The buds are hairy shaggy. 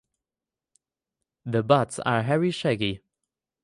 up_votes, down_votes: 2, 2